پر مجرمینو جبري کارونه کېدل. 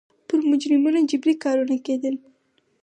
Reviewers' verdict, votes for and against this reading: accepted, 4, 2